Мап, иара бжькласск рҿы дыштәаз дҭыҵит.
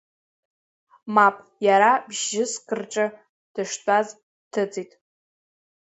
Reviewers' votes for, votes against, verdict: 0, 2, rejected